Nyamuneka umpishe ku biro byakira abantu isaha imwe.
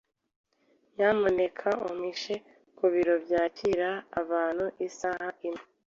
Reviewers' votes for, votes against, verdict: 2, 0, accepted